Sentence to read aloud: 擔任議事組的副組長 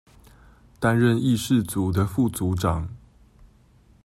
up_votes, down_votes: 2, 0